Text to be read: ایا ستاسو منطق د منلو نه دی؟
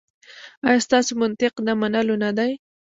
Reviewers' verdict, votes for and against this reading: accepted, 2, 0